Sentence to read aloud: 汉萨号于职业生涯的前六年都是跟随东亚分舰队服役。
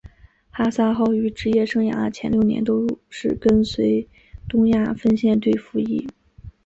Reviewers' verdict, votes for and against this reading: accepted, 3, 0